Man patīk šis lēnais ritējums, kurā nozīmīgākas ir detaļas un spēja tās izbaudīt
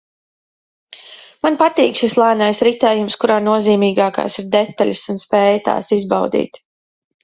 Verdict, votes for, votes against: rejected, 1, 2